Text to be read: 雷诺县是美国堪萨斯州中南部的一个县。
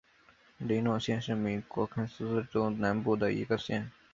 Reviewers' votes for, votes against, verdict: 2, 0, accepted